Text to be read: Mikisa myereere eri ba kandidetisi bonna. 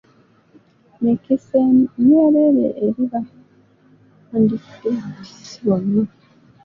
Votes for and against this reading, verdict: 2, 0, accepted